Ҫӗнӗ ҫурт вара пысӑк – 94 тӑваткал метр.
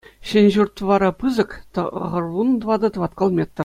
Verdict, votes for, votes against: rejected, 0, 2